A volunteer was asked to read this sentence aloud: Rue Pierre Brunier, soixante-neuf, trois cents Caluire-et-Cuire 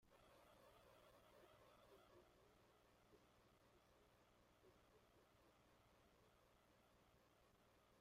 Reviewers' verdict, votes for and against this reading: rejected, 0, 2